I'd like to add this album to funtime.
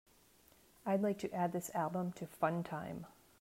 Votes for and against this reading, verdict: 2, 0, accepted